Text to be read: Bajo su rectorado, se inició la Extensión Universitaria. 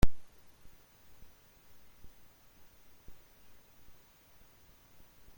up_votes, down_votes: 0, 2